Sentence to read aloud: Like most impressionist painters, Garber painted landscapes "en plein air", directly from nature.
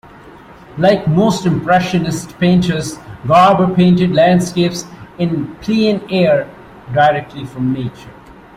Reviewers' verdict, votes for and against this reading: rejected, 1, 2